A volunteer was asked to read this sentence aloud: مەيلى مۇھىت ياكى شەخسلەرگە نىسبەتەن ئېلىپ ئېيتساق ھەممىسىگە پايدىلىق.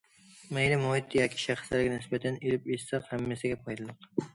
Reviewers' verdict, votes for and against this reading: accepted, 2, 0